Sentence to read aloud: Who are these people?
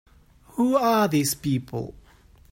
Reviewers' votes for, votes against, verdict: 2, 0, accepted